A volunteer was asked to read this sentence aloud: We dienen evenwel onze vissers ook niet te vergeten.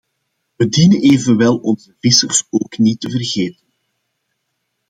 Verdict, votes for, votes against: accepted, 2, 0